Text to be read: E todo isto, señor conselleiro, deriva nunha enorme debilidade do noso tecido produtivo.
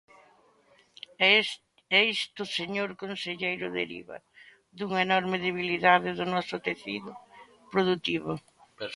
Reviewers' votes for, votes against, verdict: 0, 2, rejected